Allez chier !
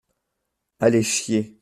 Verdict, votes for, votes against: accepted, 3, 0